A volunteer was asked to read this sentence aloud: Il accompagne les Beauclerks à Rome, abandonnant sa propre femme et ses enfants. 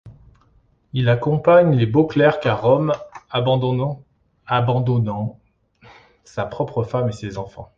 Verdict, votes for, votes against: rejected, 0, 2